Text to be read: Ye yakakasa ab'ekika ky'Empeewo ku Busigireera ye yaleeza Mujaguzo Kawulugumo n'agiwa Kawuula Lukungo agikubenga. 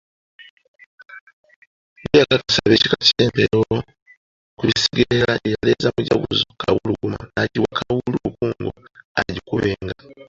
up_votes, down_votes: 0, 2